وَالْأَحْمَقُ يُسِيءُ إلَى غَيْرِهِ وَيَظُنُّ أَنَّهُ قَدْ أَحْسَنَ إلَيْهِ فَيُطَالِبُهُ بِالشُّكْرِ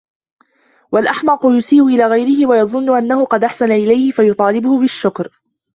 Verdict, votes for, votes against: rejected, 1, 2